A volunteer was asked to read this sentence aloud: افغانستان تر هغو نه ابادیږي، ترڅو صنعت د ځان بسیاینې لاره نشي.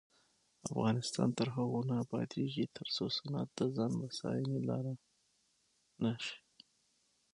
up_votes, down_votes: 6, 3